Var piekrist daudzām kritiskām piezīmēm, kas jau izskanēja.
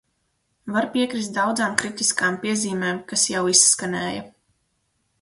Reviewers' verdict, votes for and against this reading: accepted, 6, 0